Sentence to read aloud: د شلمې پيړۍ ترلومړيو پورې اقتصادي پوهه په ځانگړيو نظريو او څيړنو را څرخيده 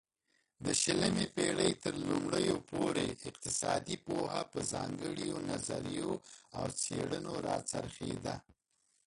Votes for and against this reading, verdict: 0, 2, rejected